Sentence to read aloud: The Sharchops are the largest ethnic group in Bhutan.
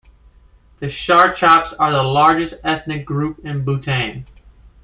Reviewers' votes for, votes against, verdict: 1, 2, rejected